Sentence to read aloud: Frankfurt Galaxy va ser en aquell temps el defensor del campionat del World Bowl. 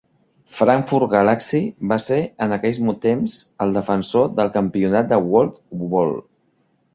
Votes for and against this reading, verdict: 0, 2, rejected